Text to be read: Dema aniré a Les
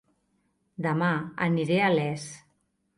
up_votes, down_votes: 2, 0